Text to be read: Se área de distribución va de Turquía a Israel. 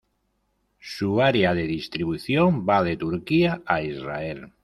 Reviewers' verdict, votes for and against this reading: accepted, 2, 0